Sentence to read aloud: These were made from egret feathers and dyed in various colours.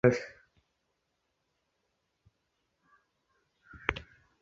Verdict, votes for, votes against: rejected, 0, 4